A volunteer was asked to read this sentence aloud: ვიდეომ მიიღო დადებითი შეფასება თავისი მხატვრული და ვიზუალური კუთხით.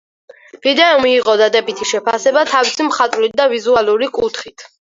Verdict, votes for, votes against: accepted, 4, 0